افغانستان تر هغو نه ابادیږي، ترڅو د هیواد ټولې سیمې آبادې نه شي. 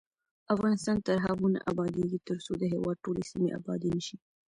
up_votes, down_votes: 1, 2